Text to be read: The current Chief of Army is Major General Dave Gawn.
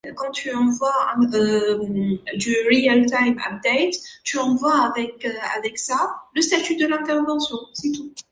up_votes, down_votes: 0, 3